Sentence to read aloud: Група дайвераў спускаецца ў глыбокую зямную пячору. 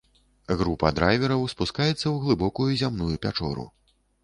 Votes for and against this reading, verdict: 0, 2, rejected